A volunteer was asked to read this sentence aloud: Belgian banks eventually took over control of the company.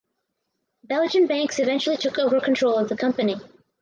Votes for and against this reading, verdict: 4, 0, accepted